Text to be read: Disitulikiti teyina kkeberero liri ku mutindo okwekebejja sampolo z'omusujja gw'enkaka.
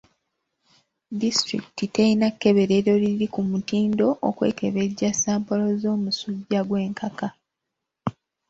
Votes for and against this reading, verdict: 2, 0, accepted